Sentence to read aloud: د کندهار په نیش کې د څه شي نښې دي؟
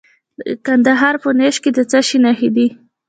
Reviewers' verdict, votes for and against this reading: accepted, 2, 0